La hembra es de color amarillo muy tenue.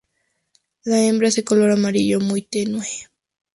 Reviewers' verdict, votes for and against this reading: rejected, 0, 2